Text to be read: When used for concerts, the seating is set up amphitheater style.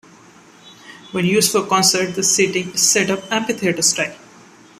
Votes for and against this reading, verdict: 1, 2, rejected